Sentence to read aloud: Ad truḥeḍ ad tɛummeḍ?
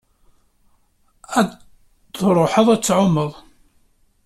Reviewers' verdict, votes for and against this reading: rejected, 1, 2